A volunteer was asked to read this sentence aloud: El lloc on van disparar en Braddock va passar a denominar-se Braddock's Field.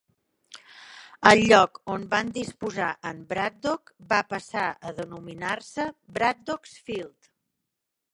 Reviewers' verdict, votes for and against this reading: rejected, 0, 2